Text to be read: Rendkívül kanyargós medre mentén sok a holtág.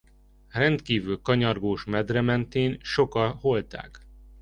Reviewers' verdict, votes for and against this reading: rejected, 1, 2